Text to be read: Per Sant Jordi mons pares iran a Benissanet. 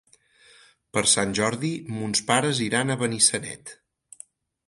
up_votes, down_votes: 4, 0